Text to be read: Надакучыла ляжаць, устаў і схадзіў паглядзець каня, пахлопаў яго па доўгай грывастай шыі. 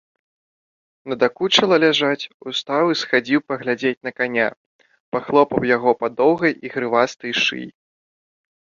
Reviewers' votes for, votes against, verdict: 0, 2, rejected